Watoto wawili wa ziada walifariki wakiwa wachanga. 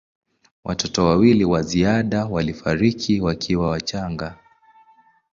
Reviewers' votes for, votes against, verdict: 3, 0, accepted